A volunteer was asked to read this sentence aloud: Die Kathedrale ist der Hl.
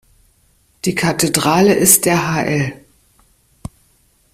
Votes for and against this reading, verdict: 0, 2, rejected